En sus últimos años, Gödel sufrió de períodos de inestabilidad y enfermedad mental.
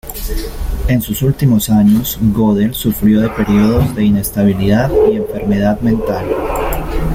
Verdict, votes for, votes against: rejected, 1, 2